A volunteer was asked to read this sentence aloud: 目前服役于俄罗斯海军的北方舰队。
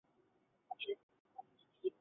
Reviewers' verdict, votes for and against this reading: rejected, 1, 2